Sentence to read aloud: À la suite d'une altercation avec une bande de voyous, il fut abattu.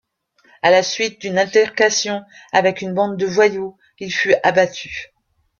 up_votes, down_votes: 0, 2